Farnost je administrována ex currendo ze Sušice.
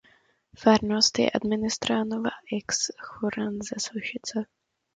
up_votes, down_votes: 0, 2